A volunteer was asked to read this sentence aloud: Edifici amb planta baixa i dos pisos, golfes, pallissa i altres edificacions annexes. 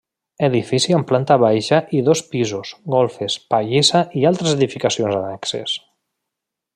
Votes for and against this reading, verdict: 0, 2, rejected